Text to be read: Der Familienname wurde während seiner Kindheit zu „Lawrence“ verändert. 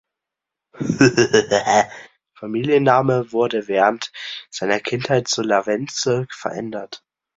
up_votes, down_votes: 0, 2